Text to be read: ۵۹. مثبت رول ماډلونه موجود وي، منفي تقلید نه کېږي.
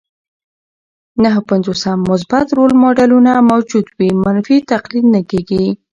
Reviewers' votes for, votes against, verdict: 0, 2, rejected